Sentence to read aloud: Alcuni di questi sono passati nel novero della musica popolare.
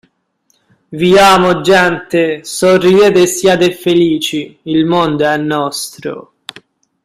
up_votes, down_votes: 0, 2